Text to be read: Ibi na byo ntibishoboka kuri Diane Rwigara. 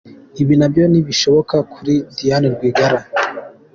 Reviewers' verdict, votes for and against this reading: accepted, 2, 0